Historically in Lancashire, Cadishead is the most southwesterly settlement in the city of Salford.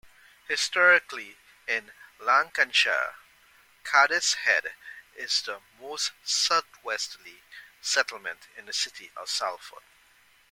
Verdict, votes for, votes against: accepted, 2, 0